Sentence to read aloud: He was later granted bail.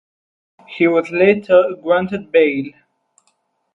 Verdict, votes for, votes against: rejected, 2, 2